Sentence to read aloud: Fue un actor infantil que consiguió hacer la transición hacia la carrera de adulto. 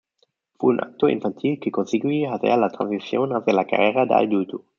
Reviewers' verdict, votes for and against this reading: rejected, 0, 2